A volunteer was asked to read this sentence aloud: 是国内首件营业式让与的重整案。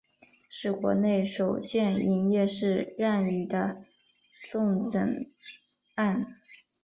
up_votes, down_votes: 2, 0